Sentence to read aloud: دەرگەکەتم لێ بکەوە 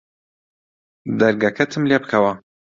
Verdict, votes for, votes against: accepted, 2, 0